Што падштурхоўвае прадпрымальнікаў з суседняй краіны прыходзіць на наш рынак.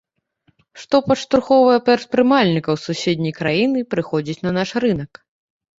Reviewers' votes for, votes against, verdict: 1, 2, rejected